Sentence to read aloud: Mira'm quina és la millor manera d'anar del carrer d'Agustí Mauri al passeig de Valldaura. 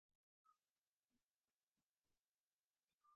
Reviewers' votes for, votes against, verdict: 0, 2, rejected